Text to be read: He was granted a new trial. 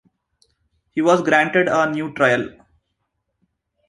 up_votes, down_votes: 2, 0